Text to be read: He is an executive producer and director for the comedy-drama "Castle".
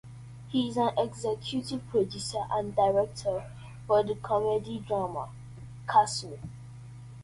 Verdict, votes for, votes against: accepted, 2, 0